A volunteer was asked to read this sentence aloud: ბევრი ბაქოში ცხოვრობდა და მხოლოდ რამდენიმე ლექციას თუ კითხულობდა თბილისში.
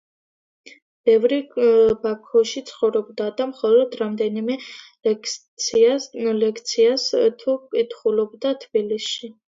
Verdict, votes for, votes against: accepted, 3, 1